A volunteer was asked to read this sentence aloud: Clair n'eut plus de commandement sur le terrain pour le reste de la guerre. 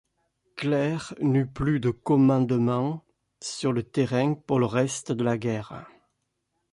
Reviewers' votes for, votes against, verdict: 2, 0, accepted